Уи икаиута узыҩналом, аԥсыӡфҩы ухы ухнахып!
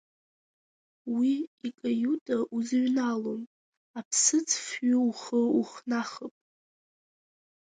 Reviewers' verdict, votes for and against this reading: accepted, 2, 0